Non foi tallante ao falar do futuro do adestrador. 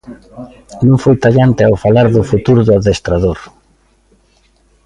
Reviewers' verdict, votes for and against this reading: accepted, 2, 0